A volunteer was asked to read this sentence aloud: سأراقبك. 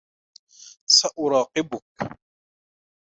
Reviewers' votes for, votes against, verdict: 2, 1, accepted